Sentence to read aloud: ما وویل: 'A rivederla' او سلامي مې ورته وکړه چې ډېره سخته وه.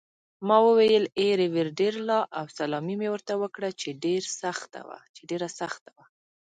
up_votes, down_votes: 0, 2